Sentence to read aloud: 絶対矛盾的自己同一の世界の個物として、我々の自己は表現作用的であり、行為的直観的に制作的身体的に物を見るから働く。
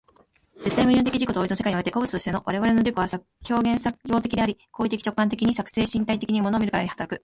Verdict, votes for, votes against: rejected, 0, 2